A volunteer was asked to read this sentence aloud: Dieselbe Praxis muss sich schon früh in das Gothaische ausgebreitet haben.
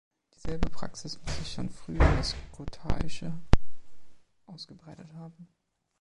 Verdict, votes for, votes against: rejected, 1, 3